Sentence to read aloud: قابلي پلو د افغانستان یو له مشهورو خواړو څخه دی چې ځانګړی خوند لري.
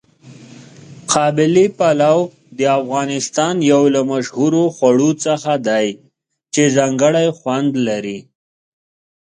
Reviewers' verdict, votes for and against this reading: accepted, 2, 0